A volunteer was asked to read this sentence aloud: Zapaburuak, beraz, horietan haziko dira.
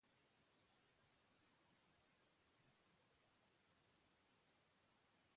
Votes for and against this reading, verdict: 0, 2, rejected